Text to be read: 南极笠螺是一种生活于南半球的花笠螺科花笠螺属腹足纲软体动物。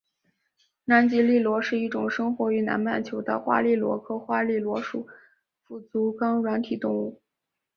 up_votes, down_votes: 9, 0